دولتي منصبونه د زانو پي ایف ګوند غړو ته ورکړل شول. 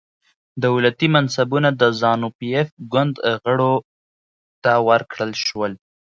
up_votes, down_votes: 2, 0